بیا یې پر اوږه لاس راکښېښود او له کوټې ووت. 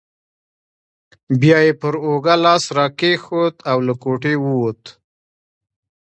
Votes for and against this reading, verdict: 2, 0, accepted